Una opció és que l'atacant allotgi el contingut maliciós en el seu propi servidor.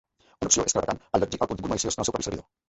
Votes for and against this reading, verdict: 1, 2, rejected